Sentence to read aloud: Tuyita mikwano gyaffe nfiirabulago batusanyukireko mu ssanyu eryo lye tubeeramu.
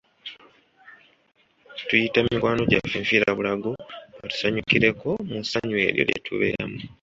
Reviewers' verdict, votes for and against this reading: accepted, 3, 0